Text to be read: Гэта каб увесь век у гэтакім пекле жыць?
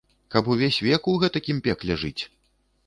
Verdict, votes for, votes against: rejected, 0, 2